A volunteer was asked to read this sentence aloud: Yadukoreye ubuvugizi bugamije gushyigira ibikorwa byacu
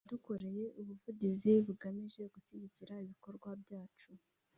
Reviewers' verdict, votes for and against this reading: accepted, 3, 0